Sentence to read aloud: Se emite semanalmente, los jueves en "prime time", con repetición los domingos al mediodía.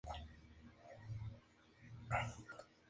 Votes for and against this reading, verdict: 0, 2, rejected